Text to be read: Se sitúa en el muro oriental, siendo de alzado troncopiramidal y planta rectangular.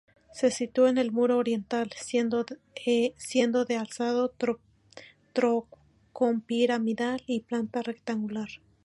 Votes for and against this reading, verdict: 0, 2, rejected